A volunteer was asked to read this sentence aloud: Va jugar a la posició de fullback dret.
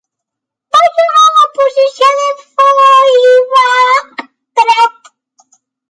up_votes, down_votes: 0, 2